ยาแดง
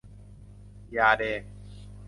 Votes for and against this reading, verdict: 2, 0, accepted